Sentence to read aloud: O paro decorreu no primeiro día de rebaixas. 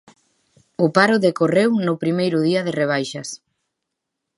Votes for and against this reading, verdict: 2, 0, accepted